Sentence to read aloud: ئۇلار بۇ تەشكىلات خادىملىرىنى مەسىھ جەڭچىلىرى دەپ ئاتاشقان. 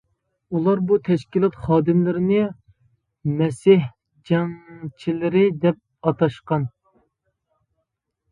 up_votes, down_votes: 2, 1